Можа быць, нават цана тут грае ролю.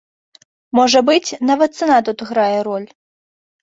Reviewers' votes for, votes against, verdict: 1, 2, rejected